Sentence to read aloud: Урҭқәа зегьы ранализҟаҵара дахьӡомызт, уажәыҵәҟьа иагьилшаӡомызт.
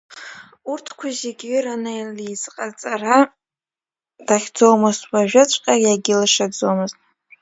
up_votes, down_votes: 1, 2